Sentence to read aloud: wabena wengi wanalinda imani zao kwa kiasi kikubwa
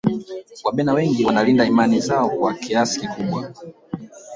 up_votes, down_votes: 1, 2